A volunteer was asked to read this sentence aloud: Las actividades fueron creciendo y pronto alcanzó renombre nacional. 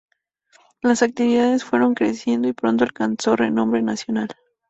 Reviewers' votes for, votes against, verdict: 2, 0, accepted